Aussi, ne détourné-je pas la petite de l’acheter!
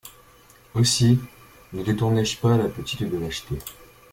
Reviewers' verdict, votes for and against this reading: accepted, 2, 0